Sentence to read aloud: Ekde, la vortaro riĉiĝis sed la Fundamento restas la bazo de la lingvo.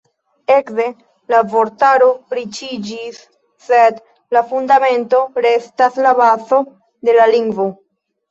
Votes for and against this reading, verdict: 0, 2, rejected